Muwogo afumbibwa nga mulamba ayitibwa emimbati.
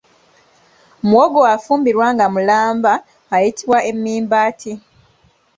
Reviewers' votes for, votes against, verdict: 2, 1, accepted